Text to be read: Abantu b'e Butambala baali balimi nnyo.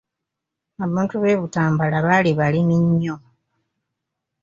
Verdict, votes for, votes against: accepted, 2, 0